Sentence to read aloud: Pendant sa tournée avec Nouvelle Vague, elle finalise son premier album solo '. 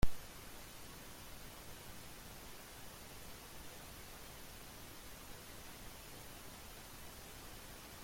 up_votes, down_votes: 0, 2